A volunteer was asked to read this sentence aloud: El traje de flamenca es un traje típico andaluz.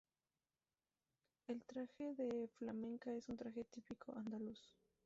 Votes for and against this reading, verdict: 0, 2, rejected